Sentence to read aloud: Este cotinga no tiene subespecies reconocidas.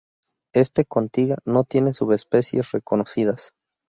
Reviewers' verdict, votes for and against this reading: rejected, 0, 2